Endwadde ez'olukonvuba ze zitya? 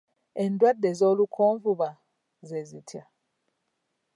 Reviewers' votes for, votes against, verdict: 1, 2, rejected